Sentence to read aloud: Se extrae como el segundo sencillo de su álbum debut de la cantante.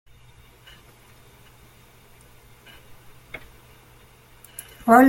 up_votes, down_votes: 0, 2